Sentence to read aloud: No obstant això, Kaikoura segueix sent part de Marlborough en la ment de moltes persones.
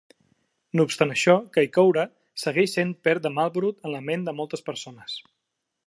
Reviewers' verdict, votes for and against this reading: rejected, 1, 2